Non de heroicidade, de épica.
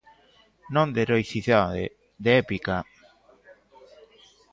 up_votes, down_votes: 0, 3